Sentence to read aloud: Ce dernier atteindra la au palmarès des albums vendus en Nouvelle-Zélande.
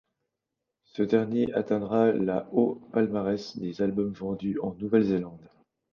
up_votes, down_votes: 2, 0